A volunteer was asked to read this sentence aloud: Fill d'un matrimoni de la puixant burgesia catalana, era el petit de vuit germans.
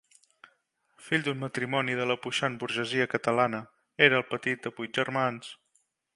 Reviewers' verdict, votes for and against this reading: accepted, 2, 0